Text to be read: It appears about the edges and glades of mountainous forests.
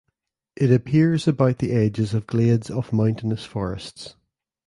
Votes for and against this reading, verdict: 1, 2, rejected